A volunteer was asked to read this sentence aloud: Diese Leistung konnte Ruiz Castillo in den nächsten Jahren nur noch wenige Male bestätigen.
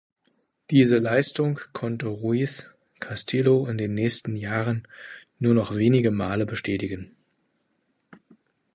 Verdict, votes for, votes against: rejected, 1, 2